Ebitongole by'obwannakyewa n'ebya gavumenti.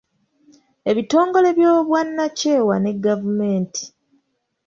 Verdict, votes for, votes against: rejected, 1, 2